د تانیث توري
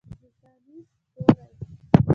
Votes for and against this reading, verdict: 0, 2, rejected